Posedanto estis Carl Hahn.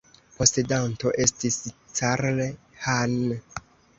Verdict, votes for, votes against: rejected, 1, 2